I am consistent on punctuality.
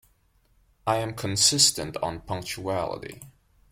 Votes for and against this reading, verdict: 2, 0, accepted